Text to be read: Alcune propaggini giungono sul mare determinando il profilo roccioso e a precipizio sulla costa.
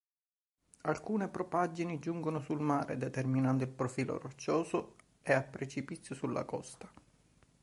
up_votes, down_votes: 2, 0